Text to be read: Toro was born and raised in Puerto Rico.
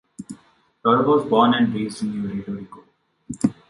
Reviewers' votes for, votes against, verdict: 1, 2, rejected